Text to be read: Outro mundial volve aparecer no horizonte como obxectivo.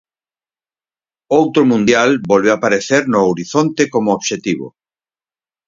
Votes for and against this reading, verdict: 0, 4, rejected